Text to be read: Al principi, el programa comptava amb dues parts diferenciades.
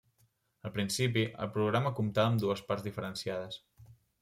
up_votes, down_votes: 2, 0